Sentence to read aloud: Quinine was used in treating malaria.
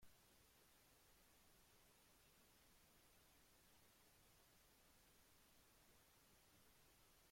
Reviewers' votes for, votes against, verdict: 0, 2, rejected